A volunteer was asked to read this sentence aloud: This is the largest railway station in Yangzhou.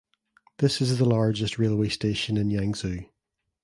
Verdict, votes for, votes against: accepted, 2, 0